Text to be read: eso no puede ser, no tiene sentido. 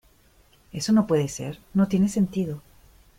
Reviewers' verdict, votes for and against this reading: accepted, 2, 0